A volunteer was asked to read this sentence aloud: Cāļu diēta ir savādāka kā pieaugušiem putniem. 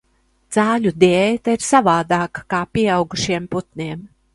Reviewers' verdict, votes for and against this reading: accepted, 2, 0